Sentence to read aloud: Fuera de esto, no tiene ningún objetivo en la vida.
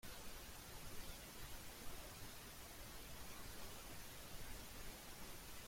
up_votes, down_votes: 0, 2